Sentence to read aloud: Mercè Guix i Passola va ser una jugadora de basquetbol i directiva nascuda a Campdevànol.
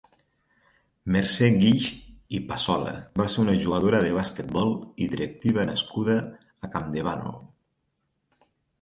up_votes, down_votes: 4, 0